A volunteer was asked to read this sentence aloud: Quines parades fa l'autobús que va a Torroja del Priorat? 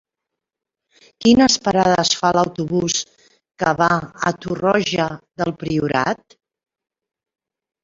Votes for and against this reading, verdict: 3, 0, accepted